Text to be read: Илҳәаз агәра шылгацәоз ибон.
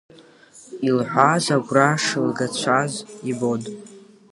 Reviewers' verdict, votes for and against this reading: rejected, 1, 2